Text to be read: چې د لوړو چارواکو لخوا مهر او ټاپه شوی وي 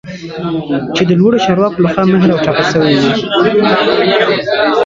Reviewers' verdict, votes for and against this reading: accepted, 2, 1